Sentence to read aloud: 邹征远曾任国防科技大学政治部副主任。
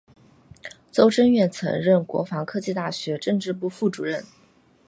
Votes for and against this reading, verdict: 4, 0, accepted